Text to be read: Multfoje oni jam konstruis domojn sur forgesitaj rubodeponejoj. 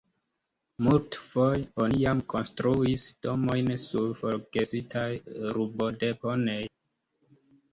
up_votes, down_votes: 1, 2